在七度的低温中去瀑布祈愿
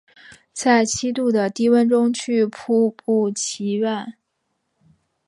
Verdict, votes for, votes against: accepted, 2, 0